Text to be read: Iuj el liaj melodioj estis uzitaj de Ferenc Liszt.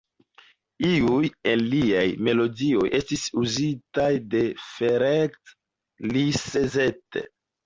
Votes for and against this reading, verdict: 0, 2, rejected